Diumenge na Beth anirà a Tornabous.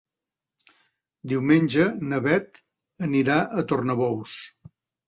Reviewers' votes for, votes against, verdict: 3, 0, accepted